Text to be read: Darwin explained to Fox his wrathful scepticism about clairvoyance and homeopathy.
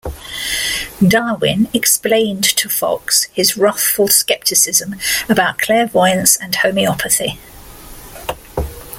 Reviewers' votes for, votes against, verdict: 2, 0, accepted